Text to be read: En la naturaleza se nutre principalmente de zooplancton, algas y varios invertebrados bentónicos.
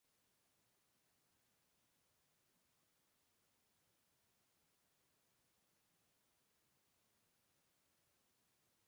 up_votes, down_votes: 0, 2